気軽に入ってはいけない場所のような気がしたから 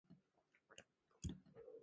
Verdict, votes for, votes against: rejected, 0, 2